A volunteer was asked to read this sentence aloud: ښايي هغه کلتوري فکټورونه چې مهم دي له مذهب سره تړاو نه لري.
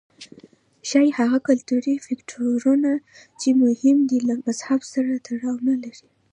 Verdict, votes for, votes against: accepted, 2, 0